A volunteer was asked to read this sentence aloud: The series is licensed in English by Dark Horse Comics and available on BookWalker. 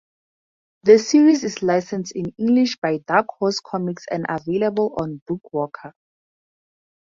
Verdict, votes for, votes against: accepted, 4, 0